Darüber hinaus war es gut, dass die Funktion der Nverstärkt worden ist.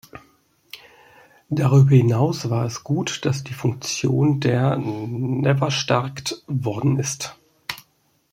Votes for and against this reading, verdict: 0, 2, rejected